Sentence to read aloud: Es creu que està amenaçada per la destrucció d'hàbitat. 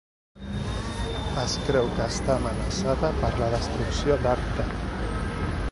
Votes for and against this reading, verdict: 1, 2, rejected